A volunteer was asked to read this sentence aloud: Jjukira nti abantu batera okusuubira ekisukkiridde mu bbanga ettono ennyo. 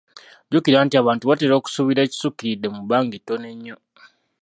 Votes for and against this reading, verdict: 2, 0, accepted